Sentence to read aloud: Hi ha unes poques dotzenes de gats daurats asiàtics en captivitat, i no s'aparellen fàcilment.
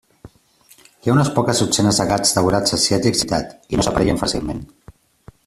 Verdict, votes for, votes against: rejected, 0, 2